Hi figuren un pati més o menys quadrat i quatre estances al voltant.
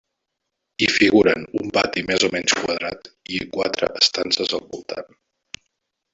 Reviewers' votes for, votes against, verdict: 0, 2, rejected